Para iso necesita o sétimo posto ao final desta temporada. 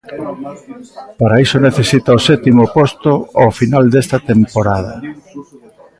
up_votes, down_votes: 0, 2